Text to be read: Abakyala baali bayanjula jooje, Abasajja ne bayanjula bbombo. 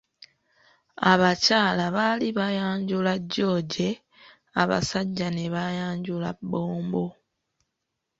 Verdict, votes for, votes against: rejected, 1, 2